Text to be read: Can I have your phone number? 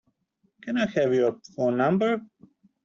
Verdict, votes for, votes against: accepted, 2, 0